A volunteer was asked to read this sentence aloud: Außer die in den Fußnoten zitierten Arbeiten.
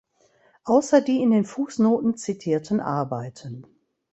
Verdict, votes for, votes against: accepted, 3, 0